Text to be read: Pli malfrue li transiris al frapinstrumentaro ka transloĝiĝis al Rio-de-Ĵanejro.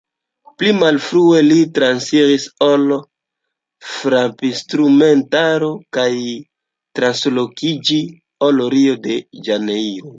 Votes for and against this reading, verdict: 0, 2, rejected